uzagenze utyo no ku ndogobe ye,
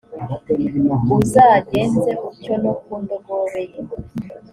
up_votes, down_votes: 2, 0